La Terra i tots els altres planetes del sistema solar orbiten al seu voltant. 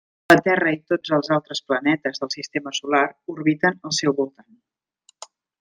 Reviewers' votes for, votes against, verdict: 1, 2, rejected